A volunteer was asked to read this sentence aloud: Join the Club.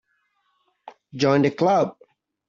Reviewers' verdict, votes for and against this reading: accepted, 2, 0